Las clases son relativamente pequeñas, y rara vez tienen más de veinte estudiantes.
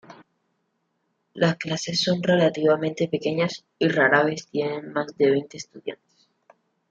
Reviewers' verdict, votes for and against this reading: accepted, 2, 1